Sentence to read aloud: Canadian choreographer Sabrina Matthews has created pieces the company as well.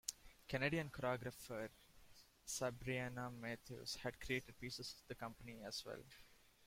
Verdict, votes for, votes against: accepted, 2, 1